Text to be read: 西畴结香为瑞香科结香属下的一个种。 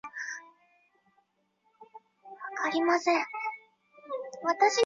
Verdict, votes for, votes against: rejected, 1, 3